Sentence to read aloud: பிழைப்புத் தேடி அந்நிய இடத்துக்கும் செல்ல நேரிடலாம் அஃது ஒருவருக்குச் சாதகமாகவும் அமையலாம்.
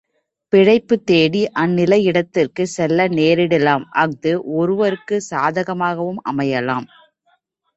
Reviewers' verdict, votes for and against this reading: accepted, 3, 2